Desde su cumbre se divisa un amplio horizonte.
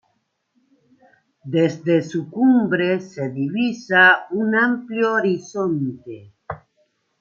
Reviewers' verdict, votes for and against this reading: accepted, 2, 0